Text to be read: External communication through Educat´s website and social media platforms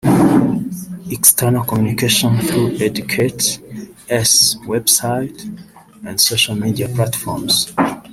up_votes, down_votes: 1, 2